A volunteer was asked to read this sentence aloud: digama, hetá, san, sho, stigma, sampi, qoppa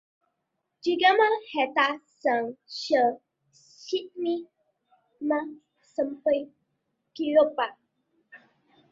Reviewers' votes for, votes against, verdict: 0, 2, rejected